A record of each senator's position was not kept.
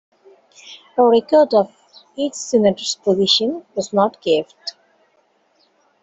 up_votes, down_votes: 1, 2